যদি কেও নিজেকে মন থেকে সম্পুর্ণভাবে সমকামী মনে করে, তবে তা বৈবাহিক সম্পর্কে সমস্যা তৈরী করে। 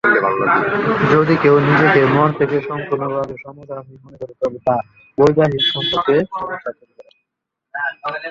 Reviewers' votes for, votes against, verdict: 1, 7, rejected